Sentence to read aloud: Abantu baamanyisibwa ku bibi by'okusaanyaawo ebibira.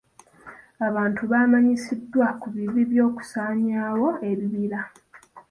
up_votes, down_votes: 0, 2